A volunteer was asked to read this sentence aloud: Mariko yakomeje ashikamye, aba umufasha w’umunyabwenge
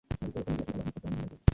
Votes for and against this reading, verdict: 1, 2, rejected